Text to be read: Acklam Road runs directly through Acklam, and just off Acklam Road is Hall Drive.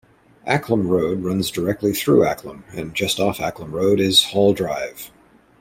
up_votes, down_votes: 2, 0